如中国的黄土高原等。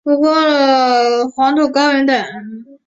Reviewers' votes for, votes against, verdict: 1, 2, rejected